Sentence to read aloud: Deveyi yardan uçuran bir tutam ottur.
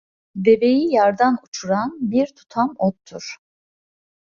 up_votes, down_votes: 2, 0